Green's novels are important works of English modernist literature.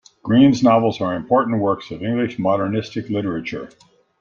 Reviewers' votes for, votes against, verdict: 2, 1, accepted